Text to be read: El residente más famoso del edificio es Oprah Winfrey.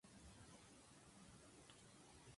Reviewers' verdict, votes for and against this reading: rejected, 0, 4